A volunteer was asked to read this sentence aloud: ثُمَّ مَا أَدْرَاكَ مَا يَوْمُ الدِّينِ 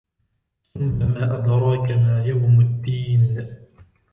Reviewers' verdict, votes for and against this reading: rejected, 0, 2